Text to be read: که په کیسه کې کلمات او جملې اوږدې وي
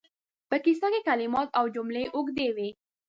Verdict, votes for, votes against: rejected, 1, 2